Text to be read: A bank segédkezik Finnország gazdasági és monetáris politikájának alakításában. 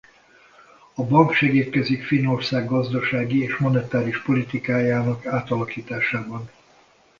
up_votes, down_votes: 0, 2